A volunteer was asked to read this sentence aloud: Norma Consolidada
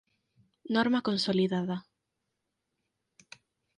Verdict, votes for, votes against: accepted, 4, 0